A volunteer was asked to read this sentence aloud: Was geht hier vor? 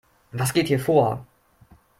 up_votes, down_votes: 2, 0